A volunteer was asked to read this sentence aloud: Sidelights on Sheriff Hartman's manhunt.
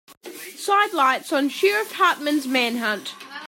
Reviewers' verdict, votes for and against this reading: accepted, 2, 0